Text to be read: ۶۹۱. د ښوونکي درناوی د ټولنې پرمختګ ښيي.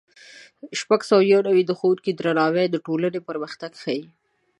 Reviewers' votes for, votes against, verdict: 0, 2, rejected